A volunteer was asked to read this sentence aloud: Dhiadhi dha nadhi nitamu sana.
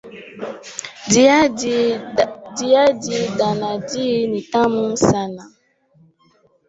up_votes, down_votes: 2, 1